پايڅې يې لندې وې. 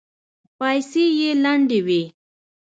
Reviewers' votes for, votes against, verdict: 2, 0, accepted